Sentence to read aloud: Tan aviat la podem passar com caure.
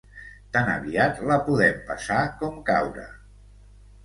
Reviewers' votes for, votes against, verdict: 2, 0, accepted